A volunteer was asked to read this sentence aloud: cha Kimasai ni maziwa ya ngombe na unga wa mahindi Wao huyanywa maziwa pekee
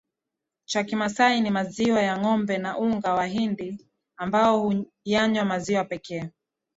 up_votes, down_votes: 6, 5